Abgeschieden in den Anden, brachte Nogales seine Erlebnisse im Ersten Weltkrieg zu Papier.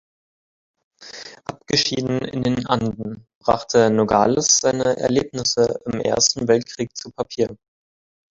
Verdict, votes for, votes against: rejected, 5, 6